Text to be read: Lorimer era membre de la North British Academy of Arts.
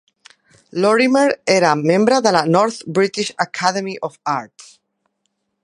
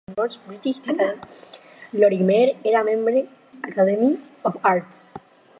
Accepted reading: first